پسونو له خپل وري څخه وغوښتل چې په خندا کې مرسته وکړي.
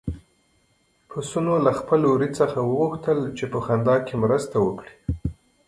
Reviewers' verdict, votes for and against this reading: accepted, 3, 0